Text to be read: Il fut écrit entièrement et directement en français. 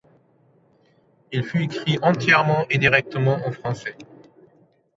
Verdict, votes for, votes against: accepted, 2, 0